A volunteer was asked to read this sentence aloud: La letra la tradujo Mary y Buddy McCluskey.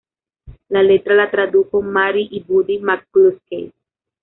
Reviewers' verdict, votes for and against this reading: rejected, 1, 2